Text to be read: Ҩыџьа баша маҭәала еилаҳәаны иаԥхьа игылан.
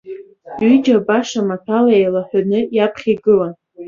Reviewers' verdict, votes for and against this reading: accepted, 2, 0